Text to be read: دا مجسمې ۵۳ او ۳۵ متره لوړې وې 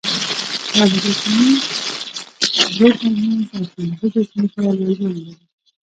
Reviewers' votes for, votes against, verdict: 0, 2, rejected